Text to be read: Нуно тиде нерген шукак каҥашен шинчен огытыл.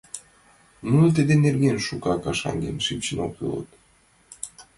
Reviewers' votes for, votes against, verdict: 0, 6, rejected